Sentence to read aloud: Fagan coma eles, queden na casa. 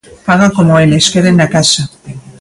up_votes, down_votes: 1, 2